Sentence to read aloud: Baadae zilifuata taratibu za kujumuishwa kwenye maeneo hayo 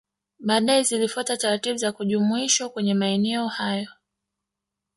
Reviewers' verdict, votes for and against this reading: rejected, 1, 2